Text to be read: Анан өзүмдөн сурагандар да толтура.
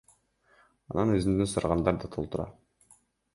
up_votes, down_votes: 2, 0